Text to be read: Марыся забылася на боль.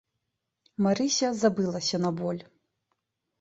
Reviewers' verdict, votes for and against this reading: accepted, 2, 0